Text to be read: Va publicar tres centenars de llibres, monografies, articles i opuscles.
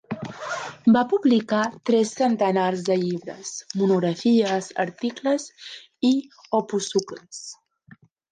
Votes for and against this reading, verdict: 0, 2, rejected